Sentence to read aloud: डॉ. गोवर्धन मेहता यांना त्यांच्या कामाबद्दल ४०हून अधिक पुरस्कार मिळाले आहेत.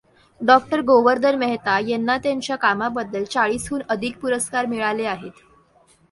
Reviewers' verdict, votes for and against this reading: rejected, 0, 2